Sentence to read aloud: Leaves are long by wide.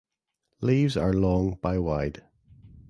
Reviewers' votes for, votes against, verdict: 2, 0, accepted